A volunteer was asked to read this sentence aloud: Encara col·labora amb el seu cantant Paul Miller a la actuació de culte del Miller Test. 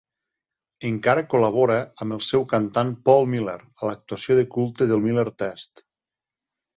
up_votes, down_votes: 2, 0